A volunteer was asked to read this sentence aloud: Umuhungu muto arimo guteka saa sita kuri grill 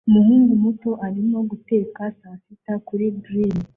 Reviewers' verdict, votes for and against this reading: accepted, 2, 0